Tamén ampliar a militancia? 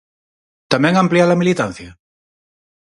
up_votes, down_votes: 4, 0